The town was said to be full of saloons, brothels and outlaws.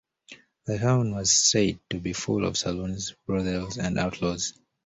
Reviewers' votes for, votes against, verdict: 0, 2, rejected